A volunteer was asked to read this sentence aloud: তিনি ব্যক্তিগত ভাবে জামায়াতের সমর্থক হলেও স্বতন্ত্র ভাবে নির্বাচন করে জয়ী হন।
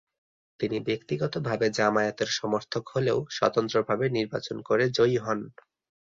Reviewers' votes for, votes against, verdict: 2, 0, accepted